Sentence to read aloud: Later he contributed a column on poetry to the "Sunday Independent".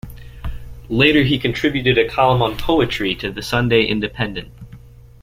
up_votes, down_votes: 2, 0